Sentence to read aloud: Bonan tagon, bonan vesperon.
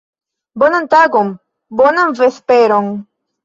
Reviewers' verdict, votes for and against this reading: accepted, 2, 0